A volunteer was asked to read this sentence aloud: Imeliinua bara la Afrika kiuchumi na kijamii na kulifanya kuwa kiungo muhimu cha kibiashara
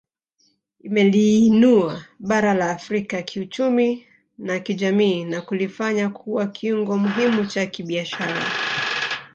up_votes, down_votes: 2, 0